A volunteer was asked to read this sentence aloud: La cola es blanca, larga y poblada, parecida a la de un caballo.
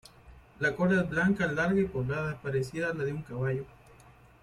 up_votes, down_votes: 1, 2